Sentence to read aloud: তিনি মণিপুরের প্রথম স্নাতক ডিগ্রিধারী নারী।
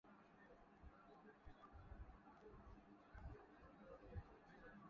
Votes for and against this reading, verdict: 0, 2, rejected